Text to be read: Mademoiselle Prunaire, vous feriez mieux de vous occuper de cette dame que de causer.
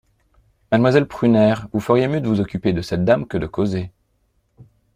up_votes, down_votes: 2, 0